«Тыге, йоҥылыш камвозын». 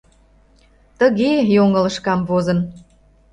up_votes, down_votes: 2, 0